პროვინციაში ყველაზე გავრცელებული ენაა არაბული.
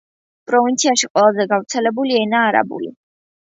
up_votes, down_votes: 2, 0